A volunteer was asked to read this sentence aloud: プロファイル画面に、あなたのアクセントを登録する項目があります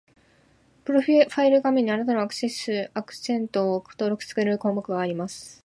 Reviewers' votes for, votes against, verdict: 0, 2, rejected